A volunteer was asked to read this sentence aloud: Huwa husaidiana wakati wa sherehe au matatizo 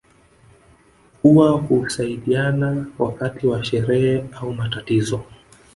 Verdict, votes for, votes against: rejected, 0, 2